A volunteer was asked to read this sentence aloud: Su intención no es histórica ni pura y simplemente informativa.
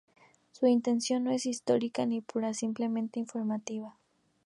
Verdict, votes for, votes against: rejected, 0, 2